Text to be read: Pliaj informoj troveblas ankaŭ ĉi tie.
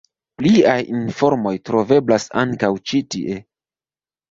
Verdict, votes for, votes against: accepted, 3, 0